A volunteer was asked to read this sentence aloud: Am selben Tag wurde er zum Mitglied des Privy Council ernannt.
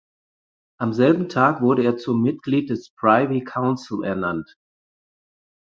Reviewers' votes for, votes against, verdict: 4, 0, accepted